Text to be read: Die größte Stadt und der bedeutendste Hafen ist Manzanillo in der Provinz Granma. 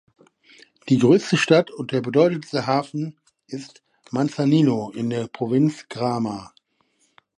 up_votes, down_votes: 1, 2